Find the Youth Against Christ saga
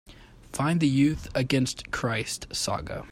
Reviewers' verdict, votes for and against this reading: accepted, 2, 0